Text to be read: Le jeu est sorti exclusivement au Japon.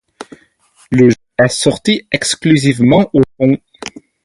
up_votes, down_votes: 0, 4